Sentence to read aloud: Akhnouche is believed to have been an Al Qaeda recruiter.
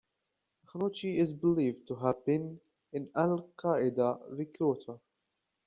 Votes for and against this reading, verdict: 2, 1, accepted